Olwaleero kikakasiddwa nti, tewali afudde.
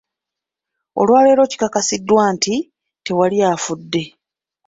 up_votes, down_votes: 3, 1